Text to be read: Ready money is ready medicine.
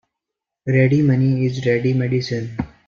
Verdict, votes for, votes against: accepted, 2, 0